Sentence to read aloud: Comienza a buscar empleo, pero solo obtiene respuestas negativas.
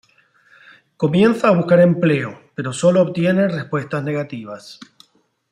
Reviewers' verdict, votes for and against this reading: accepted, 2, 0